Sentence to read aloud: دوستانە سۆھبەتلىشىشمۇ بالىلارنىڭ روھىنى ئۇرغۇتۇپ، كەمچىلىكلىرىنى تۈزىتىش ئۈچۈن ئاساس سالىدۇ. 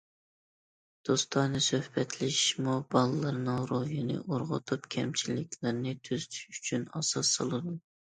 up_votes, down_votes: 2, 0